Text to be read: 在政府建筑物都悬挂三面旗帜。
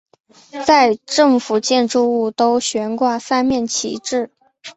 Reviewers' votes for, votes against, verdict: 3, 0, accepted